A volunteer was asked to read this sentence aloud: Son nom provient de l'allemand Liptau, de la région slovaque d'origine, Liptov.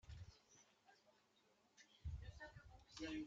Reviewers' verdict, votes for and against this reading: rejected, 0, 2